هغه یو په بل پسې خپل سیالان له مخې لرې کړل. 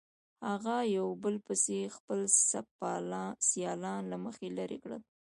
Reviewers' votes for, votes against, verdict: 1, 2, rejected